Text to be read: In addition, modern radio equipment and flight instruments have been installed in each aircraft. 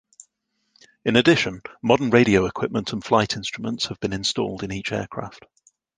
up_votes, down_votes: 2, 0